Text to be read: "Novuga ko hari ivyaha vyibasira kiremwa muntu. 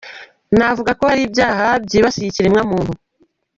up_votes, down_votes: 0, 2